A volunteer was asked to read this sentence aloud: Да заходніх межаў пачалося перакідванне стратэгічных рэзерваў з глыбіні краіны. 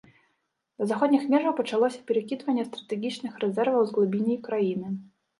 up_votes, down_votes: 1, 2